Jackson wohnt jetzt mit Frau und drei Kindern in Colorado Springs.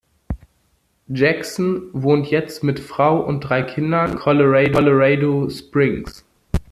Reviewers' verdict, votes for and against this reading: rejected, 1, 2